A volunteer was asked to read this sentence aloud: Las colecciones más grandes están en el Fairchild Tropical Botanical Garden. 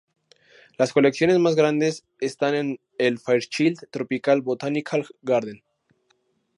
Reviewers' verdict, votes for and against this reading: accepted, 2, 0